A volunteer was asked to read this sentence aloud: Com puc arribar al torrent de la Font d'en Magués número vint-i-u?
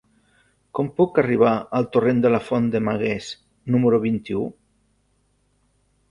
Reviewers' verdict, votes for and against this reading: rejected, 1, 2